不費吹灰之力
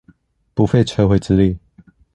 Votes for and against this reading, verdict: 2, 0, accepted